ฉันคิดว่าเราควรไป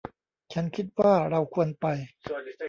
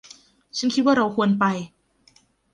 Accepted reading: second